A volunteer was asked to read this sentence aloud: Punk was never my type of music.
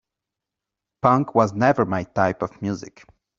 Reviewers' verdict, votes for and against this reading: accepted, 2, 0